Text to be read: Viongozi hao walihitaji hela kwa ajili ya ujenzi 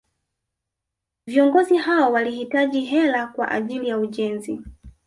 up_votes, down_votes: 1, 2